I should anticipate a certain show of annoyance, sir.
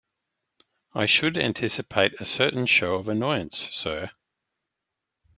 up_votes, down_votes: 2, 0